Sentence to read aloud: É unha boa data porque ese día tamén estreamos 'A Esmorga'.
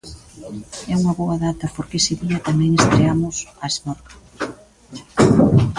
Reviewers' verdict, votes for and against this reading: rejected, 1, 2